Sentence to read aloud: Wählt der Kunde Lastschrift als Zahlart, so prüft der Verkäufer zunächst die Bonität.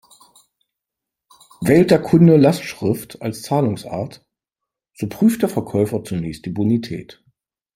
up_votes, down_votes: 1, 3